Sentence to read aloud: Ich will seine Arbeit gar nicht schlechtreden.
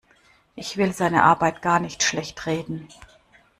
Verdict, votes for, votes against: accepted, 2, 0